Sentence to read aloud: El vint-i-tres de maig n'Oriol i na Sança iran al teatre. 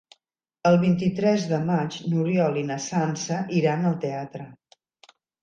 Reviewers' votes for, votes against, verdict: 3, 0, accepted